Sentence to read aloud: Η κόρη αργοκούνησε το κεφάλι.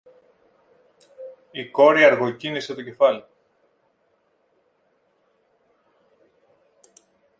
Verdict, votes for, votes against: rejected, 0, 2